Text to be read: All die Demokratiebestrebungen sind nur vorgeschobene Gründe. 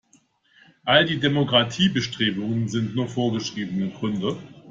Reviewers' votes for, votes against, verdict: 1, 2, rejected